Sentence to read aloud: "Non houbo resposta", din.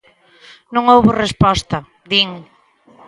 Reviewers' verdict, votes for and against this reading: accepted, 3, 0